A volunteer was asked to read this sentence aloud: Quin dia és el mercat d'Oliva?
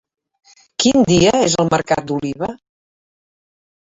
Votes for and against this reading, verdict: 3, 0, accepted